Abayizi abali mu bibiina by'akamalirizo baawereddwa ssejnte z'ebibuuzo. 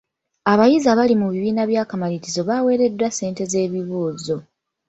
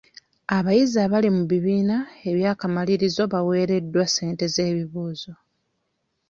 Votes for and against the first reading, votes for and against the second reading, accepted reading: 2, 0, 0, 2, first